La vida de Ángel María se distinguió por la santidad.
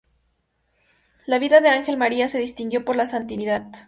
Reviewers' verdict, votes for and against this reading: rejected, 0, 2